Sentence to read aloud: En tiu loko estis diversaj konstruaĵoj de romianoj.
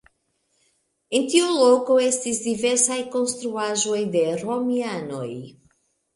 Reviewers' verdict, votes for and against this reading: rejected, 1, 2